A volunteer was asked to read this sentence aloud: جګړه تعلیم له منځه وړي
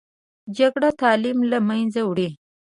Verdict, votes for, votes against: rejected, 0, 2